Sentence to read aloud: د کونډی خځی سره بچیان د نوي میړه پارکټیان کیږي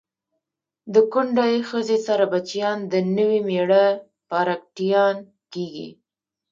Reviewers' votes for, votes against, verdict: 1, 2, rejected